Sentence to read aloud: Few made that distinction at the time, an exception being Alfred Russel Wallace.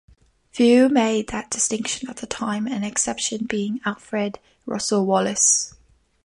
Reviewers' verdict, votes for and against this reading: accepted, 3, 0